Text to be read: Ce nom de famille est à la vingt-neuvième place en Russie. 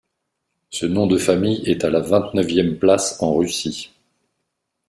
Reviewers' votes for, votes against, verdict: 2, 0, accepted